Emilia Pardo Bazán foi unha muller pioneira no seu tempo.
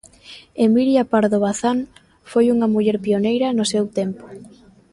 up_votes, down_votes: 2, 0